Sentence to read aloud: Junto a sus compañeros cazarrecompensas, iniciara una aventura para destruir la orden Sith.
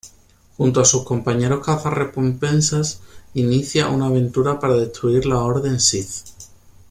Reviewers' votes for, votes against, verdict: 1, 2, rejected